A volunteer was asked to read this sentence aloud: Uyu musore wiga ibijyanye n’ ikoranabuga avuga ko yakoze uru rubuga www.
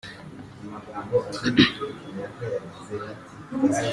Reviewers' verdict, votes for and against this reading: rejected, 0, 2